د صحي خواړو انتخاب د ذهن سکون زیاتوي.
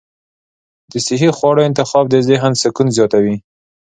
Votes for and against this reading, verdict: 2, 0, accepted